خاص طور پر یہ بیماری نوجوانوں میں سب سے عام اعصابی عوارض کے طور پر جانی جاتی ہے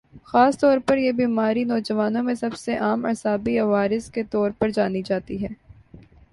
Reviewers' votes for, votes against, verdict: 3, 0, accepted